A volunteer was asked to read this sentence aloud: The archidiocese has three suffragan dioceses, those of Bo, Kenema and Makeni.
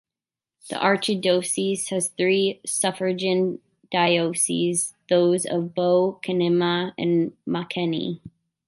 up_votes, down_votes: 0, 2